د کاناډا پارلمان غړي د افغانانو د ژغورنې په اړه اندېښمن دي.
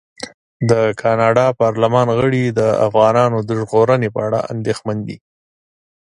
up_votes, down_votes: 2, 0